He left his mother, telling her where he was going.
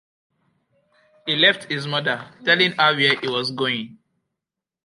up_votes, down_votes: 2, 0